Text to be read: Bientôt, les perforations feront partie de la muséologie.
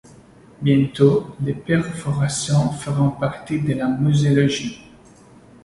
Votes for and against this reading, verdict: 2, 0, accepted